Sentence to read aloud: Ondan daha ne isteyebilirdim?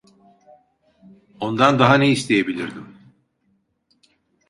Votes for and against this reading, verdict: 1, 2, rejected